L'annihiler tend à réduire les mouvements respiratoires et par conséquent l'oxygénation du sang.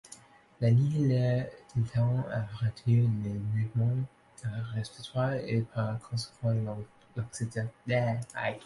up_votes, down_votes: 0, 2